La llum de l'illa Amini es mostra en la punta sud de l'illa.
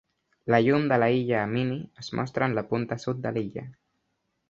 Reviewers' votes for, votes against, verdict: 0, 2, rejected